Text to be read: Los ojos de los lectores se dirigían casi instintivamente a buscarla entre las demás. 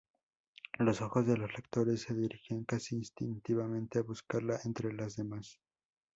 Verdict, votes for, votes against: accepted, 2, 0